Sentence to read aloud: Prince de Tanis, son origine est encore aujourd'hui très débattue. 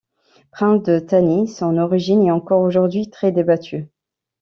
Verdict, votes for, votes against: rejected, 0, 2